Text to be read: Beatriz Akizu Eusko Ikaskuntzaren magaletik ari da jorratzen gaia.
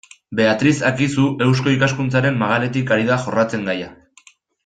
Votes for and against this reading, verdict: 2, 0, accepted